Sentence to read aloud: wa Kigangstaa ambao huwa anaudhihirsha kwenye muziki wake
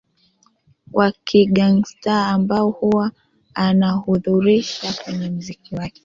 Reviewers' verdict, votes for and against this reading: accepted, 2, 0